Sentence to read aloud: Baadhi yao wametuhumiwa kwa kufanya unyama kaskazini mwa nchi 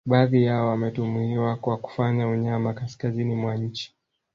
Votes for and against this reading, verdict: 3, 1, accepted